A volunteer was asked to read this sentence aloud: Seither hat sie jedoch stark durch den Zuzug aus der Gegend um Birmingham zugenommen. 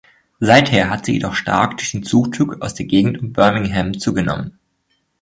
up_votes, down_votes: 1, 2